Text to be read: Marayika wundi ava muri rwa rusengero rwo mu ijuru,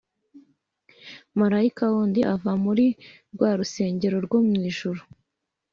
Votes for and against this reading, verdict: 2, 0, accepted